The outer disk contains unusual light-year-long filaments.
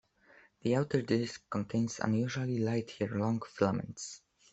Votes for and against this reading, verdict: 2, 0, accepted